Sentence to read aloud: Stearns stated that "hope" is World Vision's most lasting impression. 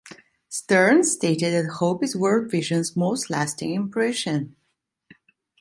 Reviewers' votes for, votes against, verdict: 2, 0, accepted